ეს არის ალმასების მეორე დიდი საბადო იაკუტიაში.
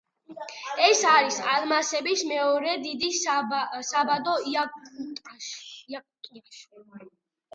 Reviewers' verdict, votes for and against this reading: accepted, 2, 1